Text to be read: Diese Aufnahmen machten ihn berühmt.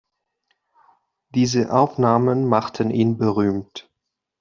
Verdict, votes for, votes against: accepted, 2, 0